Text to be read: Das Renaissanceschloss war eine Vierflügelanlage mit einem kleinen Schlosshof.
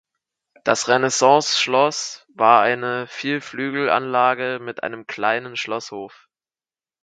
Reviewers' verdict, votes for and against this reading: accepted, 4, 0